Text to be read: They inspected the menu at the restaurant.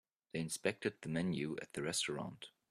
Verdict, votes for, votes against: accepted, 2, 0